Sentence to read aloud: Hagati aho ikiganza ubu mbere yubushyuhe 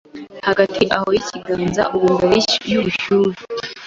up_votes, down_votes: 2, 1